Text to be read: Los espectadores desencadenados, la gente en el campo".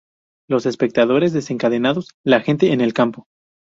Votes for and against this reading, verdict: 0, 2, rejected